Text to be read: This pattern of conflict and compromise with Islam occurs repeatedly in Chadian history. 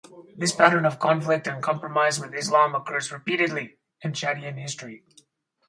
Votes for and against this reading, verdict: 2, 2, rejected